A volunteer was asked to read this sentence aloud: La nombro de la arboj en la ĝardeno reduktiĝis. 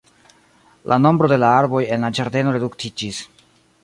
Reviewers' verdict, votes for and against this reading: rejected, 1, 2